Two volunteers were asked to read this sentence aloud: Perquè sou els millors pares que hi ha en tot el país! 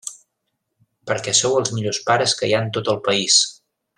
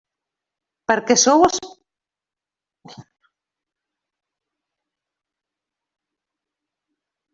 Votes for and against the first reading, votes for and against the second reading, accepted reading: 3, 0, 0, 2, first